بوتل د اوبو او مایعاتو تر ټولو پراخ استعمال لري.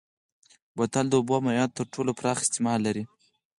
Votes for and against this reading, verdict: 6, 2, accepted